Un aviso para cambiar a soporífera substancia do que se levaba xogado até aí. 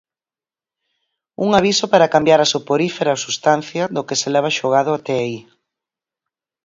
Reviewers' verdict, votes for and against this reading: rejected, 2, 4